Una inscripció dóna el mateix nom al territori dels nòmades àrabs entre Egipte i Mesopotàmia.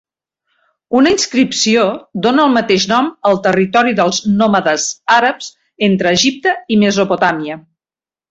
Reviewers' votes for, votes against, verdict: 3, 0, accepted